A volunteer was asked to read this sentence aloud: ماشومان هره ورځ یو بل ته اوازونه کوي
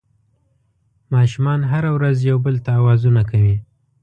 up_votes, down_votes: 3, 0